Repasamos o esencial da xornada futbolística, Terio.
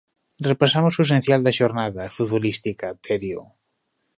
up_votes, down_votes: 1, 2